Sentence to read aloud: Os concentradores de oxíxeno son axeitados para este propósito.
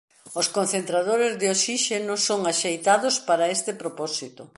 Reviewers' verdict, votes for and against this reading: accepted, 2, 0